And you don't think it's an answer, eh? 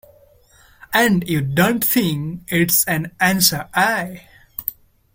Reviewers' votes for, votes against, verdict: 2, 0, accepted